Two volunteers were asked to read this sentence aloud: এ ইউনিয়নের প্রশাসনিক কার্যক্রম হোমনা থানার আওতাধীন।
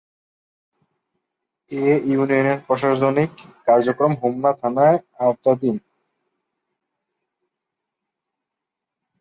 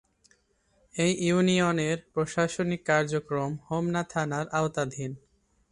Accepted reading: second